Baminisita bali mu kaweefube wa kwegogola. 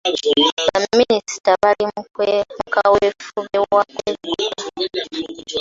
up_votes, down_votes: 0, 2